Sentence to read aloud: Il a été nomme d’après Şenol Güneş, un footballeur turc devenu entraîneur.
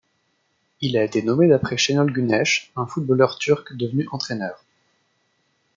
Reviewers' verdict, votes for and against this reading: rejected, 1, 2